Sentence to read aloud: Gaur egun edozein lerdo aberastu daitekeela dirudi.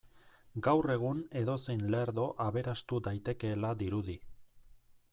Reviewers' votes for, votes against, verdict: 2, 0, accepted